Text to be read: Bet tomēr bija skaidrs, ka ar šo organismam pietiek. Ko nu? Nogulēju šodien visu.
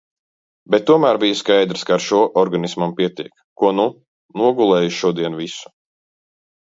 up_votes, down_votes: 2, 0